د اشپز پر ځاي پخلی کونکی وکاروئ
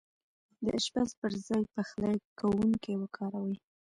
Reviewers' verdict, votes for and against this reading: rejected, 1, 2